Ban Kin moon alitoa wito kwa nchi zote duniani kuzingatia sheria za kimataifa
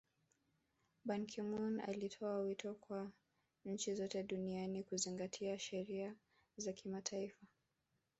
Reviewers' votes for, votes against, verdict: 0, 2, rejected